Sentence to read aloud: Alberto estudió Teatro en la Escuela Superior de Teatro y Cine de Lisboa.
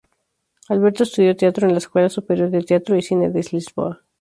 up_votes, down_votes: 2, 2